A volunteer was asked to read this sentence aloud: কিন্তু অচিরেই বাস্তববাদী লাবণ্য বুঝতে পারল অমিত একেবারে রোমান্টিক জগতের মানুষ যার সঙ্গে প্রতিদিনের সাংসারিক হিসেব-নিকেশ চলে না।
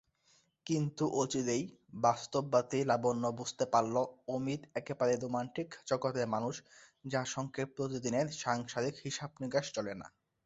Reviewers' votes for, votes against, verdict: 2, 0, accepted